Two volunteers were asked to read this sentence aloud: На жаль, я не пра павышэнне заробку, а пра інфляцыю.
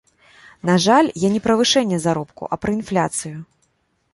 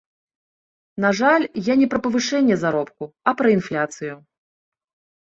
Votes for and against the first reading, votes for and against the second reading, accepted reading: 1, 2, 2, 0, second